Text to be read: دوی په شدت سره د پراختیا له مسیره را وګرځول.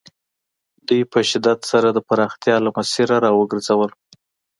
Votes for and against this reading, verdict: 2, 0, accepted